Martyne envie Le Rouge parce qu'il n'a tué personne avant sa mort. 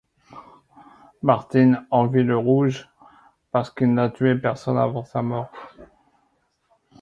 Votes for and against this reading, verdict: 2, 0, accepted